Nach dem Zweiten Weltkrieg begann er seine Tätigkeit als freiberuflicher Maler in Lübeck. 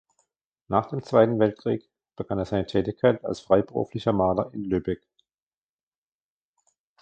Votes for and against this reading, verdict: 2, 0, accepted